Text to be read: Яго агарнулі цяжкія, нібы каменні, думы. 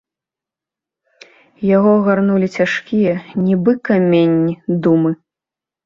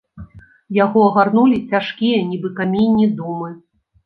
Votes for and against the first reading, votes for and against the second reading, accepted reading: 2, 0, 1, 2, first